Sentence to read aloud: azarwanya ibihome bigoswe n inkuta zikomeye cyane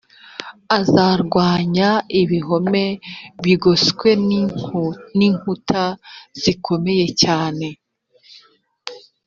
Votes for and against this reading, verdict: 0, 2, rejected